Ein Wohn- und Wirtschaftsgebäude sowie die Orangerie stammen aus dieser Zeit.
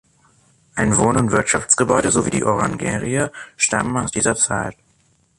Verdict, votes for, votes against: accepted, 3, 1